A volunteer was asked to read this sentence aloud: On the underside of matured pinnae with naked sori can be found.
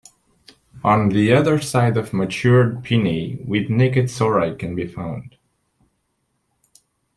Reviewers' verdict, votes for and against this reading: rejected, 0, 2